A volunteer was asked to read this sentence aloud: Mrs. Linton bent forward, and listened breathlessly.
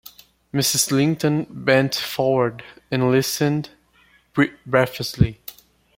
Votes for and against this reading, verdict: 1, 2, rejected